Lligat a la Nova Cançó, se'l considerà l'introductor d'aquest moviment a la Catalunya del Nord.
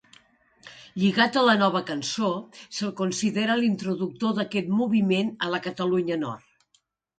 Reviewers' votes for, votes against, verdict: 1, 2, rejected